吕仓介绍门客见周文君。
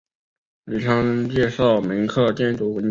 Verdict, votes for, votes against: rejected, 2, 3